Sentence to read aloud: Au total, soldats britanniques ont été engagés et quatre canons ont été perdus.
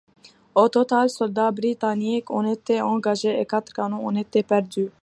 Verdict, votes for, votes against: accepted, 2, 0